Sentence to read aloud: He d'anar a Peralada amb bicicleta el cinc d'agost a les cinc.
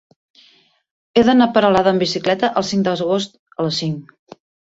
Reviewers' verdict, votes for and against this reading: rejected, 0, 2